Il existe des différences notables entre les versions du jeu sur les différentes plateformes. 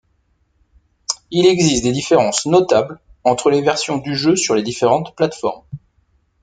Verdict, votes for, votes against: accepted, 2, 0